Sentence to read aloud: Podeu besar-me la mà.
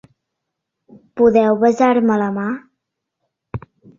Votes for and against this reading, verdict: 2, 0, accepted